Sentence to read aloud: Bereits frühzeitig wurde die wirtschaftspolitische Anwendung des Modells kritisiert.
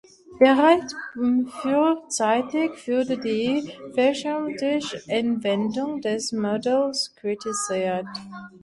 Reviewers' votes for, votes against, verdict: 0, 2, rejected